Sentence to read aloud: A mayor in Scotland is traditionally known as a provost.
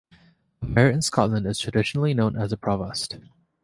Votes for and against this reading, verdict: 2, 1, accepted